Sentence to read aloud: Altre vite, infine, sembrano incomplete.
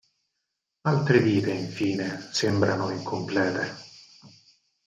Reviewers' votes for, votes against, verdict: 2, 4, rejected